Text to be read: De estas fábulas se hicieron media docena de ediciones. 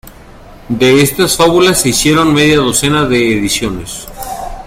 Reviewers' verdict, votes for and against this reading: accepted, 2, 1